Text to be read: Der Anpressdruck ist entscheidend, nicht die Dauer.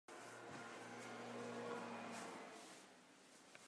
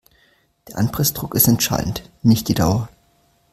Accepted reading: second